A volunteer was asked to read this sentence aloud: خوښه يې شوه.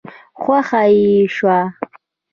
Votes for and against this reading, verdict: 2, 0, accepted